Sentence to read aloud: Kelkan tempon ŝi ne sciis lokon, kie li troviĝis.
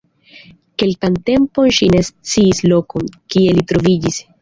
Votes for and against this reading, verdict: 2, 0, accepted